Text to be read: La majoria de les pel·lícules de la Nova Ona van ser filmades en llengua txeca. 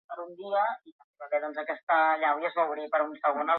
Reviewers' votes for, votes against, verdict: 0, 3, rejected